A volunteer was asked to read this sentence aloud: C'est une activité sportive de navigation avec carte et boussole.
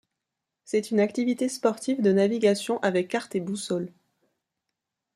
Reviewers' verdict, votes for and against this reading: accepted, 2, 0